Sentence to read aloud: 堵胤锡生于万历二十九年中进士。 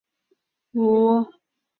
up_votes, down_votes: 0, 3